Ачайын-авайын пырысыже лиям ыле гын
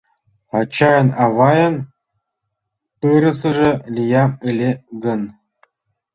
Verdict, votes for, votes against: rejected, 1, 2